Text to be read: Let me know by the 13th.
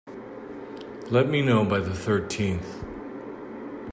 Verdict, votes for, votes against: rejected, 0, 2